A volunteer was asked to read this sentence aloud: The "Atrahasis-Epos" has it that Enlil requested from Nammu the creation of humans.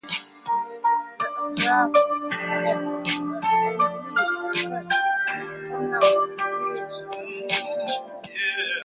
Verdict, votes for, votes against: rejected, 0, 2